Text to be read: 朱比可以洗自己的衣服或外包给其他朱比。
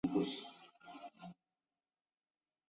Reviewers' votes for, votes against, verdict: 1, 2, rejected